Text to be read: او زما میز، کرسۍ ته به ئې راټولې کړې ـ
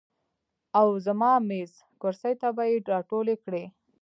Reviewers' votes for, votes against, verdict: 1, 2, rejected